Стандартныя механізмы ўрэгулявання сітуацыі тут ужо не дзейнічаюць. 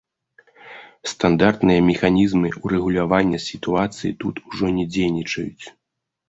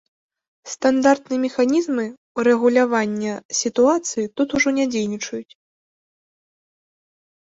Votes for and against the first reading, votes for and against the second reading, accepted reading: 1, 2, 2, 0, second